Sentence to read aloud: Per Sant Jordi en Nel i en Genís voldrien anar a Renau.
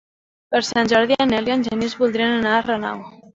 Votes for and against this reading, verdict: 1, 2, rejected